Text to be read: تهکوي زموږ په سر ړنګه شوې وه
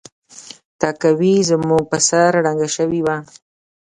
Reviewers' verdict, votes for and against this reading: rejected, 1, 2